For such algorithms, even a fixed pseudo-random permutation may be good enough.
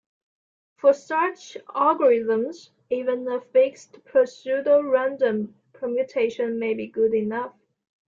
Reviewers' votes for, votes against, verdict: 2, 0, accepted